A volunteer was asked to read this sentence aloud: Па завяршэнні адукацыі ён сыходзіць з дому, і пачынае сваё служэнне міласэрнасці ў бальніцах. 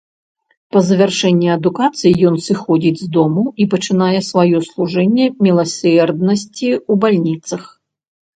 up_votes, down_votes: 0, 2